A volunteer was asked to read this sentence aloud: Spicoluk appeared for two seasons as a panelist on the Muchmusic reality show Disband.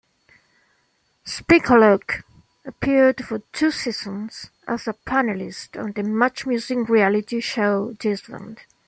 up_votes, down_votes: 0, 2